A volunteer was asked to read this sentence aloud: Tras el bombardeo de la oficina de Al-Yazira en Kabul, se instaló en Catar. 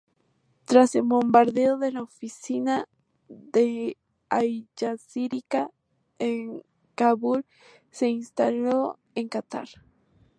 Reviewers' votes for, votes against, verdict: 0, 2, rejected